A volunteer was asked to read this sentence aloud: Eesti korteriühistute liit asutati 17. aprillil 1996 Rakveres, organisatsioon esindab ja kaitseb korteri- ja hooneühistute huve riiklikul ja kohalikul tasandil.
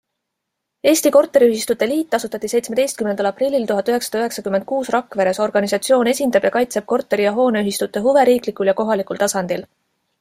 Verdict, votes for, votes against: rejected, 0, 2